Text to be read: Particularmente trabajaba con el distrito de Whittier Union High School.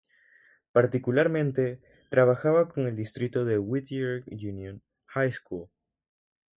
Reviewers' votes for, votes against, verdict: 0, 3, rejected